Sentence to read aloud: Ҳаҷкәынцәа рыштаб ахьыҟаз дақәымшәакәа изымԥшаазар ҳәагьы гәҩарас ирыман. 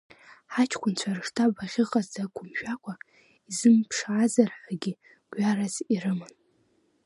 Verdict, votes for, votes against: rejected, 1, 2